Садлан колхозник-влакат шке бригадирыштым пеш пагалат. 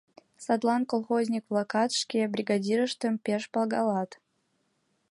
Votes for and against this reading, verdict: 4, 0, accepted